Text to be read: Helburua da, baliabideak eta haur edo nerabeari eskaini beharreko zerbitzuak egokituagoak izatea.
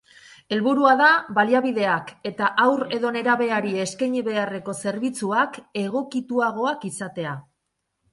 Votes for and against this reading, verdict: 2, 0, accepted